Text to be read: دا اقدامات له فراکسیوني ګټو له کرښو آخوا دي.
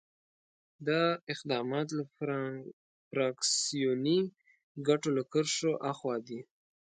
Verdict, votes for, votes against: rejected, 0, 2